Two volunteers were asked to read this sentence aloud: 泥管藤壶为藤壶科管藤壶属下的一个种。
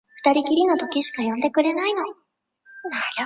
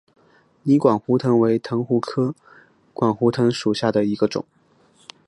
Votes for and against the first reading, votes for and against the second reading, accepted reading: 0, 3, 3, 2, second